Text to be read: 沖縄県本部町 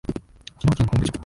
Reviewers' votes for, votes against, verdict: 1, 2, rejected